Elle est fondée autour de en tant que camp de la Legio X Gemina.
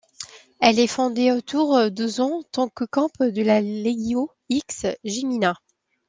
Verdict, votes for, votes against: rejected, 1, 2